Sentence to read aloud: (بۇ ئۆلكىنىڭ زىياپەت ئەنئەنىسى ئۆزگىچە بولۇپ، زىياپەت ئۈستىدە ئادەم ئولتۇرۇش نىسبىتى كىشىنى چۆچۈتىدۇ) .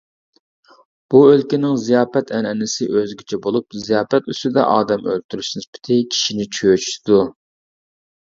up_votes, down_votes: 1, 2